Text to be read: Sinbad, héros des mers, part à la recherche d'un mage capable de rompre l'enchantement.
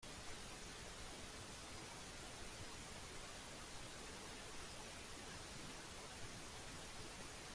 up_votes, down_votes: 0, 2